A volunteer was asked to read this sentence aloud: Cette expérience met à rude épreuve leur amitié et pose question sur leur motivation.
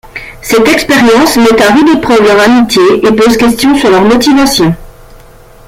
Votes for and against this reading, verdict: 2, 0, accepted